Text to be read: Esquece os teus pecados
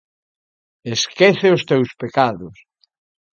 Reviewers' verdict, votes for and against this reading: accepted, 2, 0